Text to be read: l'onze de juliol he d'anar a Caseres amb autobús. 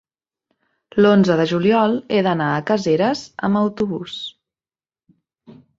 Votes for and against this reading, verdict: 3, 0, accepted